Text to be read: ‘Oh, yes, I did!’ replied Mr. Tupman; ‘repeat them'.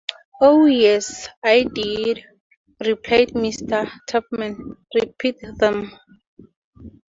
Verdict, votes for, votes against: accepted, 2, 0